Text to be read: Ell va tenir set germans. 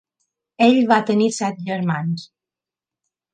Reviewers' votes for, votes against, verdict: 3, 0, accepted